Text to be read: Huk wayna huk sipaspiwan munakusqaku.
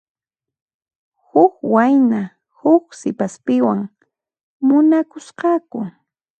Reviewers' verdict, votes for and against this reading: accepted, 2, 0